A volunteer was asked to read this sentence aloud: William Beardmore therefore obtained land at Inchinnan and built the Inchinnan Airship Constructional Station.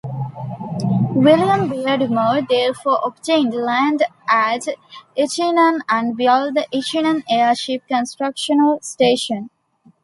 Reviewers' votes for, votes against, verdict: 2, 1, accepted